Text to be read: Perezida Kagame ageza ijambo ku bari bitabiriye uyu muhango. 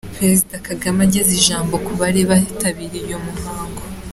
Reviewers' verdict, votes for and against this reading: accepted, 2, 0